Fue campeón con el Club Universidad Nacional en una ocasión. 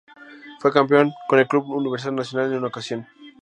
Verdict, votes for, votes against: rejected, 0, 2